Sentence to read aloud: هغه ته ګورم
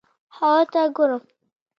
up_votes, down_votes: 0, 2